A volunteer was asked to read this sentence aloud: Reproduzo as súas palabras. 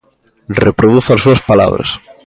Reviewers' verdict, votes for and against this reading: accepted, 2, 0